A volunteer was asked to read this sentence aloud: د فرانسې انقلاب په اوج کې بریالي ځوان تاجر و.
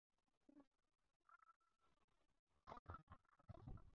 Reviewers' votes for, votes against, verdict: 2, 4, rejected